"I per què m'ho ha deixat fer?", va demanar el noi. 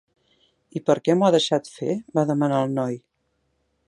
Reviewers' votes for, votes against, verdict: 3, 0, accepted